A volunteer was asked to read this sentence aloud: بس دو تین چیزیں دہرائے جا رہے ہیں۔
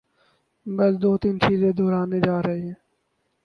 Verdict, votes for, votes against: rejected, 0, 4